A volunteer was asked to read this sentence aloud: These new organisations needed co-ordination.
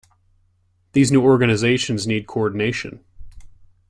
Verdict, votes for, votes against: rejected, 0, 2